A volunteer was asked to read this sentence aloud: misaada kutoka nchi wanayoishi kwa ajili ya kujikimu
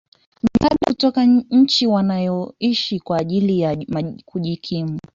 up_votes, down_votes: 2, 4